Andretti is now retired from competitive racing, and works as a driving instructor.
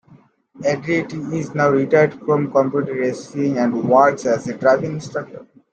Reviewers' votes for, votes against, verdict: 0, 2, rejected